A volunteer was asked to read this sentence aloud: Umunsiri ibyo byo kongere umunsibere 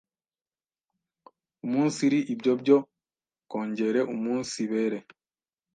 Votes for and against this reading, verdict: 1, 2, rejected